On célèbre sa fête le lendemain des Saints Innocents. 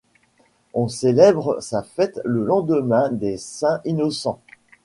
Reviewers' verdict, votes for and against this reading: accepted, 2, 0